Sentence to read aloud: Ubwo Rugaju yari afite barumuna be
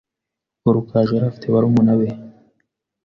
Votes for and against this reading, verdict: 2, 0, accepted